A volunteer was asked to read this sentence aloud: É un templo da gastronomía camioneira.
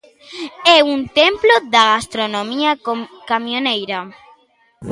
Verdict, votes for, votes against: rejected, 1, 2